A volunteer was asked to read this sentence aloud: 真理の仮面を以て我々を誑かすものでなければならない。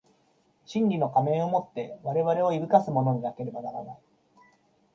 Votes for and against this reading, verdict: 3, 2, accepted